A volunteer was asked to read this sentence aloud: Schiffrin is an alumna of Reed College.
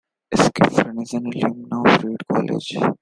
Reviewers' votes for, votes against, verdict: 0, 2, rejected